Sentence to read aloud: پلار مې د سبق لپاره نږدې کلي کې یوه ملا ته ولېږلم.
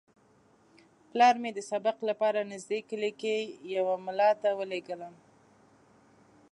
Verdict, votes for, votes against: accepted, 2, 0